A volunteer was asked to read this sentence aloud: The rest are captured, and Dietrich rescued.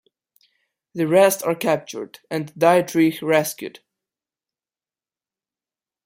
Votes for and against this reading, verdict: 2, 1, accepted